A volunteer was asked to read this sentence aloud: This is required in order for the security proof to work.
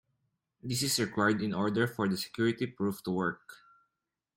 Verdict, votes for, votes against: accepted, 2, 0